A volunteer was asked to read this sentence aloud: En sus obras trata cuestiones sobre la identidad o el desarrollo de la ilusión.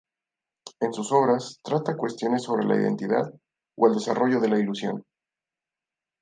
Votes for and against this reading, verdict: 2, 0, accepted